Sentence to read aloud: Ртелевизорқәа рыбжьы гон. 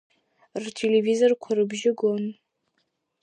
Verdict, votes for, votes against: accepted, 2, 0